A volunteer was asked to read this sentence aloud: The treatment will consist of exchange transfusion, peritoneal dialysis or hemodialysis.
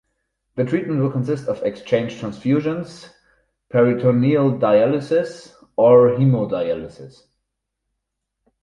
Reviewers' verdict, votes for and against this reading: rejected, 0, 4